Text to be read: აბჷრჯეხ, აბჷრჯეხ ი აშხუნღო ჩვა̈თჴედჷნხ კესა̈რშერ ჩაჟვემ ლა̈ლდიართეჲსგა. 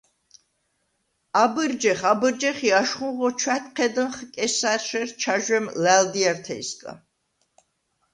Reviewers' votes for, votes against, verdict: 2, 0, accepted